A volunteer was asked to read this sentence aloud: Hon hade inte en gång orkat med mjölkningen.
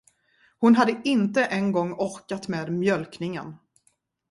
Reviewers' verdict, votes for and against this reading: accepted, 2, 0